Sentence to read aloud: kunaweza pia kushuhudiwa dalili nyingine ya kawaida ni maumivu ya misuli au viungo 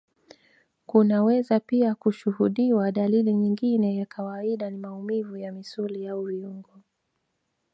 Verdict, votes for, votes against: accepted, 3, 1